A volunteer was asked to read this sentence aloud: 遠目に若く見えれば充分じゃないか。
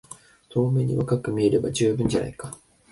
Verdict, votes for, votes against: accepted, 2, 0